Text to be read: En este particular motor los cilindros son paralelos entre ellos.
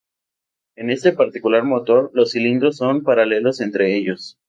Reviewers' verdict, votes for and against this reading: rejected, 0, 2